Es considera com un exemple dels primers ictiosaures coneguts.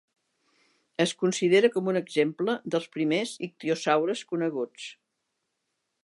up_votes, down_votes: 3, 0